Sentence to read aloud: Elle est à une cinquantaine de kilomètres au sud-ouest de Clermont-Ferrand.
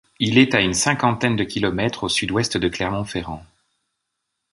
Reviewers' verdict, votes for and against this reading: rejected, 1, 2